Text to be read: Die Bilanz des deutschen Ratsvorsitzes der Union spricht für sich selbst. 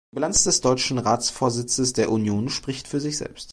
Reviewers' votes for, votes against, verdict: 0, 2, rejected